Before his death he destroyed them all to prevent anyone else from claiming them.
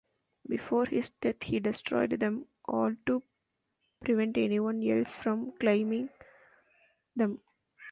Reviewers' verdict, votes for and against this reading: rejected, 0, 2